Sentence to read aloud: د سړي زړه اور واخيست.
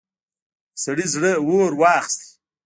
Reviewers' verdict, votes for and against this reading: accepted, 3, 1